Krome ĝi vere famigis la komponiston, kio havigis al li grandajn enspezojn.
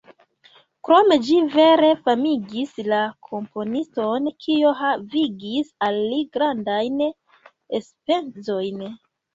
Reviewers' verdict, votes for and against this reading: rejected, 0, 2